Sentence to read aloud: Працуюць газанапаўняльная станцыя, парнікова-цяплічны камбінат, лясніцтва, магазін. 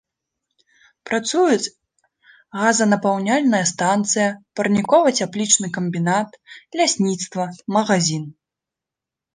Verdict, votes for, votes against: accepted, 2, 0